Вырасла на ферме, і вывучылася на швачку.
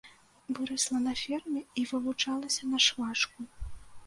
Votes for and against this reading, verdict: 0, 2, rejected